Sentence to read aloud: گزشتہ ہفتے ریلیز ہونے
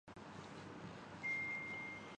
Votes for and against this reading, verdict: 0, 2, rejected